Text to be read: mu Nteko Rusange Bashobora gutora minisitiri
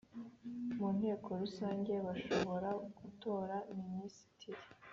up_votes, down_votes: 3, 0